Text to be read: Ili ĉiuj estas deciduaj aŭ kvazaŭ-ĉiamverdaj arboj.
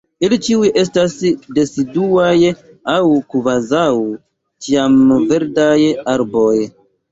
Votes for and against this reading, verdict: 1, 2, rejected